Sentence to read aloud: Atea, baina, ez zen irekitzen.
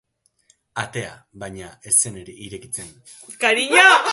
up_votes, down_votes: 0, 2